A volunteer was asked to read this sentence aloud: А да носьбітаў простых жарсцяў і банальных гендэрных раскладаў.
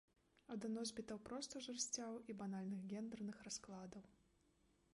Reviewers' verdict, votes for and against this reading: rejected, 1, 2